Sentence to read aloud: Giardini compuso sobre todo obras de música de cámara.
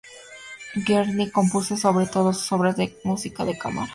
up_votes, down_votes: 2, 0